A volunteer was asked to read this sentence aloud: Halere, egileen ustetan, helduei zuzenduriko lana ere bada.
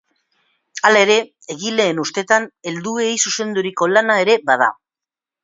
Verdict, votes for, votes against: accepted, 2, 0